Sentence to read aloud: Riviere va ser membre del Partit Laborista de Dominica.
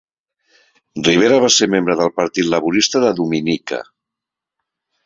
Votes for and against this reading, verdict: 3, 1, accepted